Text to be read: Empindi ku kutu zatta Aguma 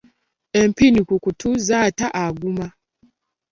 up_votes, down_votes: 0, 3